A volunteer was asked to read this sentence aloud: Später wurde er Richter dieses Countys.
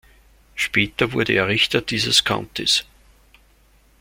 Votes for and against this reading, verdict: 2, 0, accepted